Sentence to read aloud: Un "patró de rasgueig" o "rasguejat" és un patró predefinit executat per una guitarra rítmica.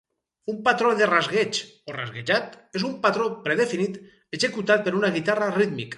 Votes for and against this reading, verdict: 2, 4, rejected